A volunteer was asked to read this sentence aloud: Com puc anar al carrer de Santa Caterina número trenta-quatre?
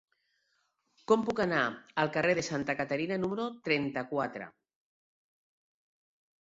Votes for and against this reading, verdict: 2, 0, accepted